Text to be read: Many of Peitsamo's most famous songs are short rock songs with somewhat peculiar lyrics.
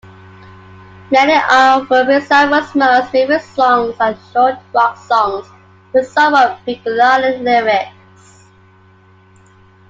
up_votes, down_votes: 2, 1